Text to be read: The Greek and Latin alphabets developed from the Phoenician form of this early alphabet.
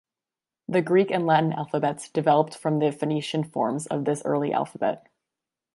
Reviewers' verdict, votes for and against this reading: rejected, 1, 2